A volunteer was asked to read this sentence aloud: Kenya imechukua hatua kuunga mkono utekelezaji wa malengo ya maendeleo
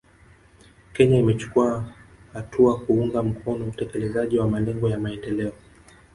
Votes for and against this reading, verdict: 1, 2, rejected